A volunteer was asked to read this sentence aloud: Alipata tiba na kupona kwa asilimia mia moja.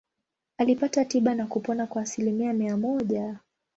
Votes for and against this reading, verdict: 2, 0, accepted